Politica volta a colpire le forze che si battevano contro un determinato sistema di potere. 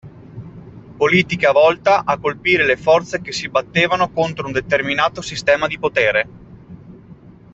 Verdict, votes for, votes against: accepted, 2, 0